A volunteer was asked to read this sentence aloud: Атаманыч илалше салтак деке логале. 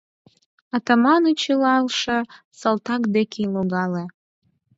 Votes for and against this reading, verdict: 4, 0, accepted